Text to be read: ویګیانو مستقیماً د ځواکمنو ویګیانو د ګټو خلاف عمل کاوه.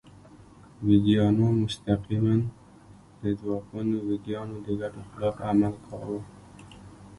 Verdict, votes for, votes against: accepted, 2, 1